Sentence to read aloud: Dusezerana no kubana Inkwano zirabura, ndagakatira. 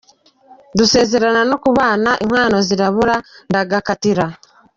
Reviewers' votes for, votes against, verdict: 1, 2, rejected